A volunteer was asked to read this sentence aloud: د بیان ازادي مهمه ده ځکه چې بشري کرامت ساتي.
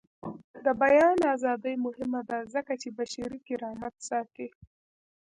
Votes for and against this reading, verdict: 1, 2, rejected